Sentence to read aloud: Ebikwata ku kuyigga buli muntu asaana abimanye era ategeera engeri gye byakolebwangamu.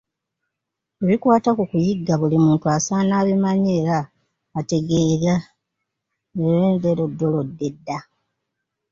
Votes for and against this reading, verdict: 1, 2, rejected